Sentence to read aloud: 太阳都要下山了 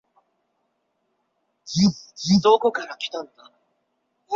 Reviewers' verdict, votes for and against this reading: rejected, 0, 6